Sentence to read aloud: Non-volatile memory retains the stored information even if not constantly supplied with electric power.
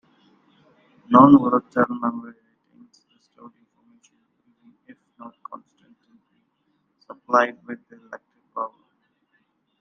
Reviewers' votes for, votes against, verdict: 0, 2, rejected